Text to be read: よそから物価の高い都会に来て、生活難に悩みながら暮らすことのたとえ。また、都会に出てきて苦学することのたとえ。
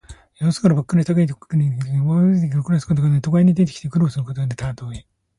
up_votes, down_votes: 1, 2